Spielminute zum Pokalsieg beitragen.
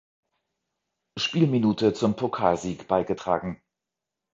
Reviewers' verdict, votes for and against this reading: rejected, 0, 2